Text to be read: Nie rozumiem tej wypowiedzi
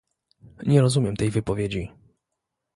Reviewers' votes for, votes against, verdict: 2, 0, accepted